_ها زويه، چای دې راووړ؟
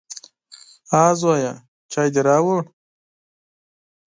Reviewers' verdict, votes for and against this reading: accepted, 6, 0